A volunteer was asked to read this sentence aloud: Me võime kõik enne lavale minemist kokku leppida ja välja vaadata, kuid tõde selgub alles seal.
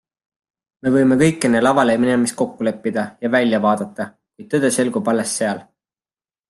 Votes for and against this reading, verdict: 2, 0, accepted